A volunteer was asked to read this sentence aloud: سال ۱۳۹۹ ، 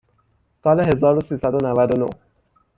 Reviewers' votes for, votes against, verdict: 0, 2, rejected